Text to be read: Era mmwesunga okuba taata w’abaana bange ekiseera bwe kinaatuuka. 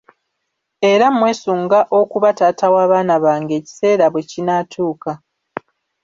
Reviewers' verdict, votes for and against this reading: rejected, 1, 2